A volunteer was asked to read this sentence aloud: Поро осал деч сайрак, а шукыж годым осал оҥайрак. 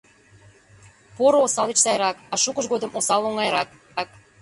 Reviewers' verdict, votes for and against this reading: rejected, 0, 2